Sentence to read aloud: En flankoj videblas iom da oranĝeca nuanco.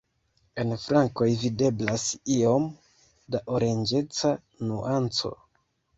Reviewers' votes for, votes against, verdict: 1, 2, rejected